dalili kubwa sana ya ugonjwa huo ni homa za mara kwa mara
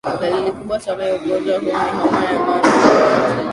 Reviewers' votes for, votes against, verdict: 0, 2, rejected